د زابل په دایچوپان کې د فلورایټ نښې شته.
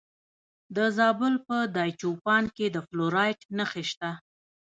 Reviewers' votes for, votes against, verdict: 1, 2, rejected